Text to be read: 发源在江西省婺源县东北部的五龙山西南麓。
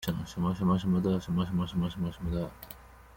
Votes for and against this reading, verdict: 0, 2, rejected